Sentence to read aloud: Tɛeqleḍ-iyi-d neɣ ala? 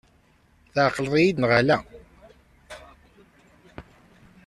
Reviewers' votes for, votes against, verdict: 2, 0, accepted